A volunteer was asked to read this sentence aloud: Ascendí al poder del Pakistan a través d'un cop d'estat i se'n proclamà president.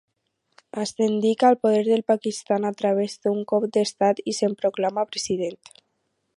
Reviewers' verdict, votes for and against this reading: rejected, 2, 2